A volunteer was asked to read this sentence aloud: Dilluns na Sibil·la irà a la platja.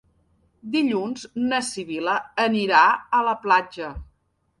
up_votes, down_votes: 0, 2